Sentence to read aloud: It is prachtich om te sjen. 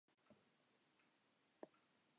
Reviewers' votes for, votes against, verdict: 0, 2, rejected